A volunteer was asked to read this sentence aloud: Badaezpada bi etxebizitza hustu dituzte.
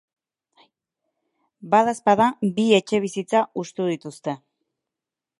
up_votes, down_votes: 2, 2